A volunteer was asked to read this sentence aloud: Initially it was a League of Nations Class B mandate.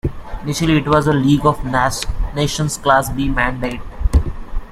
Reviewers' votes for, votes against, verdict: 1, 2, rejected